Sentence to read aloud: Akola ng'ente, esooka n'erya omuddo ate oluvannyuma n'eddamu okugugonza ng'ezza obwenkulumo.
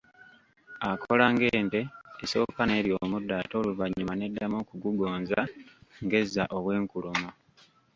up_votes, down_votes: 1, 2